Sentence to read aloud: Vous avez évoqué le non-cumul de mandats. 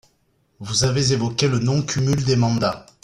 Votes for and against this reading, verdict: 2, 0, accepted